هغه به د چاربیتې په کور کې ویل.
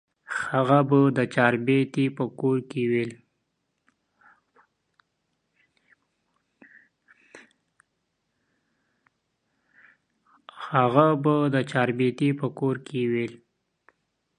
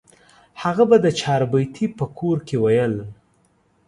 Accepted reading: second